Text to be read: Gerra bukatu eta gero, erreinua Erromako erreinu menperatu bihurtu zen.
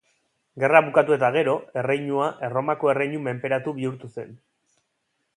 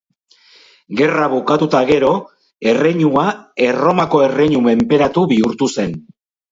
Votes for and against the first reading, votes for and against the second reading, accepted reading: 2, 0, 4, 4, first